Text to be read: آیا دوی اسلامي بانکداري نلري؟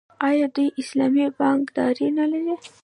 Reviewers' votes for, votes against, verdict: 2, 0, accepted